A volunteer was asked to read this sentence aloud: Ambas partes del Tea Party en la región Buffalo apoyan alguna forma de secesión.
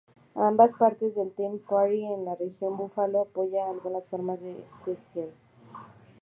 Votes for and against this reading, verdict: 0, 2, rejected